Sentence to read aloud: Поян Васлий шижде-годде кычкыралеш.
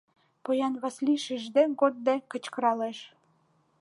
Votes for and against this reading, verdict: 2, 0, accepted